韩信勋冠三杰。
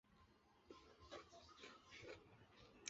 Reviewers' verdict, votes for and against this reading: rejected, 0, 2